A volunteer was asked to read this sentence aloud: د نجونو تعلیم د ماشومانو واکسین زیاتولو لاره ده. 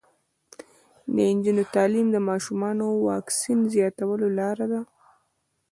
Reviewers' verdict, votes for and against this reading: rejected, 1, 2